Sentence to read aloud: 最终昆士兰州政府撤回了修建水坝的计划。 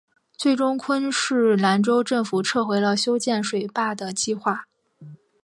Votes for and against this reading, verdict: 5, 0, accepted